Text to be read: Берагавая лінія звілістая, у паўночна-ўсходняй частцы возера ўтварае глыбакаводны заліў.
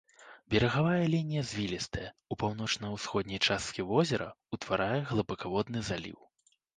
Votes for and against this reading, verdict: 1, 2, rejected